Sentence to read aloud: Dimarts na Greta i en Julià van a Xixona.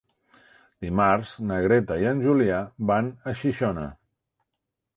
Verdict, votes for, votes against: accepted, 3, 0